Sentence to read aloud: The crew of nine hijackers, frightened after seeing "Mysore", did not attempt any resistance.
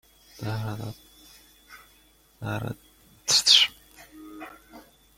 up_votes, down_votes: 0, 2